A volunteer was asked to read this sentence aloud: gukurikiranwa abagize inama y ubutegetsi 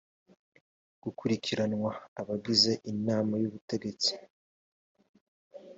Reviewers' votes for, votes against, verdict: 2, 0, accepted